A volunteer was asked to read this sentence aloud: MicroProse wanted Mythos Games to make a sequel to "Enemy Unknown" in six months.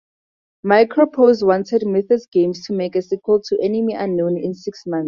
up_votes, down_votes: 0, 2